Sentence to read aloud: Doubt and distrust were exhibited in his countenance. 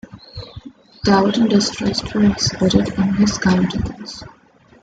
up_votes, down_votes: 2, 0